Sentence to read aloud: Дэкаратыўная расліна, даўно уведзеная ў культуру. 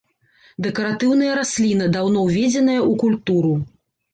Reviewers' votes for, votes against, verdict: 2, 0, accepted